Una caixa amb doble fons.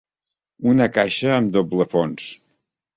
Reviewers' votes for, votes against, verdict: 4, 0, accepted